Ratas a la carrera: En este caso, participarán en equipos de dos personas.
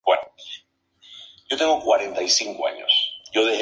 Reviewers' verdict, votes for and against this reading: accepted, 2, 0